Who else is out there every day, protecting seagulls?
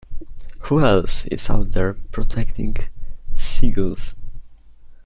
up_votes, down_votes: 0, 2